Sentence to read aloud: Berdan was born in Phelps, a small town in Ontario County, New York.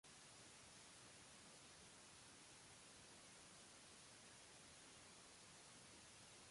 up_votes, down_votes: 0, 2